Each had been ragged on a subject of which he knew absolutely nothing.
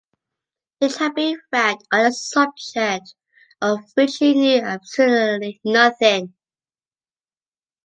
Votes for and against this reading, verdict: 0, 2, rejected